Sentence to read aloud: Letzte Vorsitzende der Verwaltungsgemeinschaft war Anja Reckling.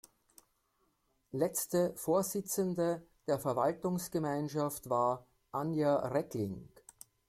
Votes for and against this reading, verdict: 2, 0, accepted